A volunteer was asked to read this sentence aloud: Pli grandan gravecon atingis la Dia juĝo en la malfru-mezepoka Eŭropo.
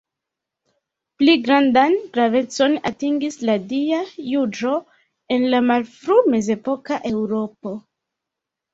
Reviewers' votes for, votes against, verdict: 0, 2, rejected